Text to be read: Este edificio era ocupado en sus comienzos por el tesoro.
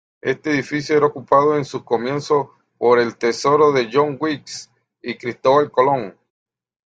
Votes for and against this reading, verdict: 1, 2, rejected